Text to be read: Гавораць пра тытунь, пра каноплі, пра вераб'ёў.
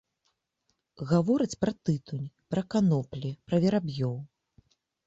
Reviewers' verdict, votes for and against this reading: rejected, 0, 2